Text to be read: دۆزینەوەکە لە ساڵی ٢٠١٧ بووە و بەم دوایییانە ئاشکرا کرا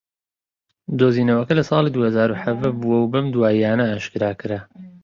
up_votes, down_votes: 0, 2